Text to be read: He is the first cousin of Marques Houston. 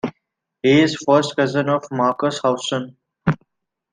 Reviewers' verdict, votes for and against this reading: rejected, 0, 2